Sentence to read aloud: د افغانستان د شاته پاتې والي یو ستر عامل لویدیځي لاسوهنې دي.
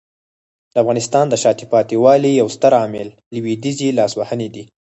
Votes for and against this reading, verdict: 2, 4, rejected